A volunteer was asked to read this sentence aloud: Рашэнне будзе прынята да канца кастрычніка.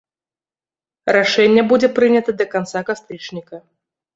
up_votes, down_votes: 1, 2